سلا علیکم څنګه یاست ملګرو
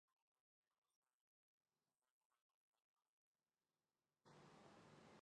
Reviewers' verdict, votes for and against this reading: rejected, 0, 2